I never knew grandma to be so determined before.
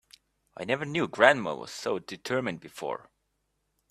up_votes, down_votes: 0, 2